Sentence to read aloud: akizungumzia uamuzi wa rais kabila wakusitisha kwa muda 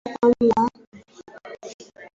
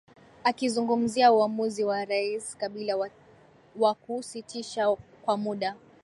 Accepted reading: second